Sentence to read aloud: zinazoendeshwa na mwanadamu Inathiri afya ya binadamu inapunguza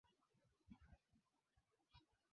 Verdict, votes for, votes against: rejected, 3, 6